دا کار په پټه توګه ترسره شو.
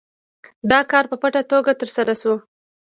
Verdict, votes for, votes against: rejected, 0, 2